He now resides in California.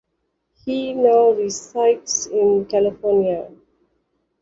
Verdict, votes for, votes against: accepted, 2, 0